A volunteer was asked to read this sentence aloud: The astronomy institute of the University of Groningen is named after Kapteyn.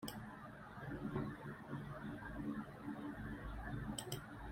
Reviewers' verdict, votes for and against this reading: rejected, 0, 2